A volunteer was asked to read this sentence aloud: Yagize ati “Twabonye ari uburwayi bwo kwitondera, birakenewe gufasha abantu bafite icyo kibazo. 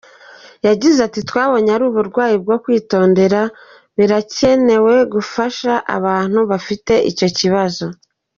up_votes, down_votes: 3, 0